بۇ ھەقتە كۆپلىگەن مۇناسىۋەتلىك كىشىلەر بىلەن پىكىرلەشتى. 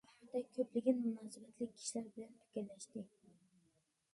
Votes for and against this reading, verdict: 0, 2, rejected